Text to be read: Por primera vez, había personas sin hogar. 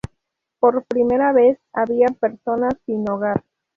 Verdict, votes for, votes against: accepted, 2, 0